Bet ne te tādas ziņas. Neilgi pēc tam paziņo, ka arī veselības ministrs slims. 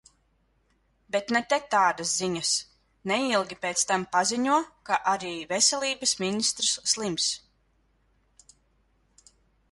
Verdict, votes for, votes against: accepted, 2, 0